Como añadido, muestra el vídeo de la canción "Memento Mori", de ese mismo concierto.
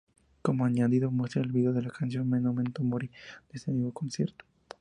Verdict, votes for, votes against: accepted, 2, 0